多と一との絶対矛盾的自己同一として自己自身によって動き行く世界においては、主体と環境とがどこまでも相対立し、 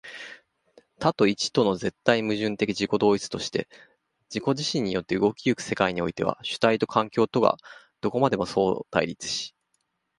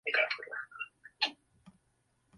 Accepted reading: first